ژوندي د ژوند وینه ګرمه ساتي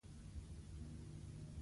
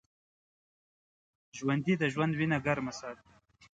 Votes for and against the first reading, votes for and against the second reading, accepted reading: 1, 2, 2, 0, second